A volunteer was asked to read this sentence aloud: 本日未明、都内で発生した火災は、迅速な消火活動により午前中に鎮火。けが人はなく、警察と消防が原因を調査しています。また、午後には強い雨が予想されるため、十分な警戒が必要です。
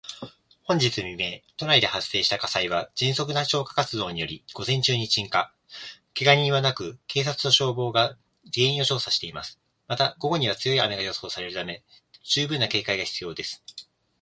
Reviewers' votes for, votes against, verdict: 2, 0, accepted